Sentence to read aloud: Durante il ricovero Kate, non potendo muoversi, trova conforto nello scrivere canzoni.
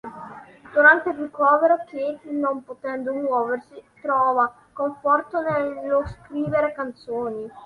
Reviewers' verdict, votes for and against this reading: accepted, 2, 0